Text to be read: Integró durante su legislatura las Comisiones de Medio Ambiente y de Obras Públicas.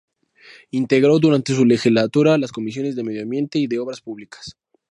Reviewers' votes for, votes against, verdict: 2, 0, accepted